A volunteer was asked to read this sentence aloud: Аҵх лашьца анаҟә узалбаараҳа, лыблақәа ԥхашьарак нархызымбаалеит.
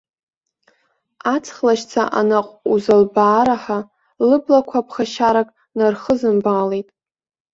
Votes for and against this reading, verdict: 1, 2, rejected